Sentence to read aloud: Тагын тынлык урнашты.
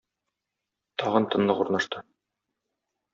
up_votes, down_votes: 0, 2